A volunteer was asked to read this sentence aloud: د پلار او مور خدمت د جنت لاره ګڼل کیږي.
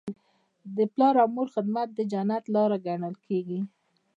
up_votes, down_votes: 1, 2